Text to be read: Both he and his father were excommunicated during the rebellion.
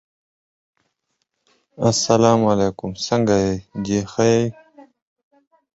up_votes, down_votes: 0, 4